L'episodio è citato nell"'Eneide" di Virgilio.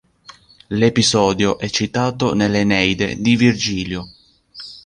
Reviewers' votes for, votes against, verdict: 2, 0, accepted